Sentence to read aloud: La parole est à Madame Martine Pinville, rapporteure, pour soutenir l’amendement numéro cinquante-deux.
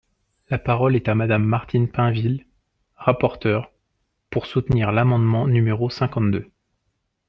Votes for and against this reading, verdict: 2, 0, accepted